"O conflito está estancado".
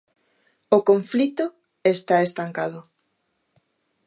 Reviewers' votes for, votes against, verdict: 2, 0, accepted